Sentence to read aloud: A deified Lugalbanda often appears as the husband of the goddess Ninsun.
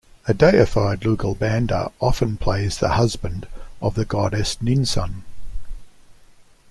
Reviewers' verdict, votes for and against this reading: rejected, 0, 2